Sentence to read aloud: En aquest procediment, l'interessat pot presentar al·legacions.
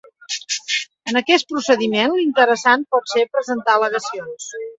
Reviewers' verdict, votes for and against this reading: rejected, 0, 2